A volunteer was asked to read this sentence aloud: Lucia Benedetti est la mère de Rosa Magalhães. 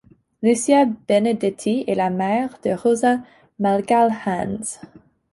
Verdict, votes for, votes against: accepted, 2, 0